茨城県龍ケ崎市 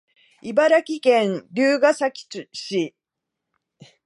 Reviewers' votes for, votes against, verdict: 0, 2, rejected